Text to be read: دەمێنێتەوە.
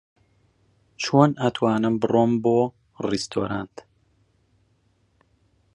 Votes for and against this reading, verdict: 0, 2, rejected